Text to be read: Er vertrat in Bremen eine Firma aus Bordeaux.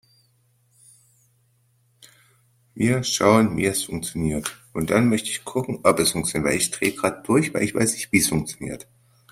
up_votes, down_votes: 0, 2